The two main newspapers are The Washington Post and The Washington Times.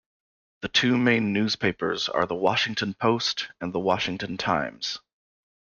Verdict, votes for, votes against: accepted, 2, 0